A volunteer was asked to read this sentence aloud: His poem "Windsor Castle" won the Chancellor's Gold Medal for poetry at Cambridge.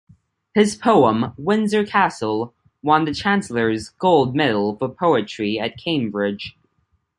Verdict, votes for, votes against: accepted, 2, 0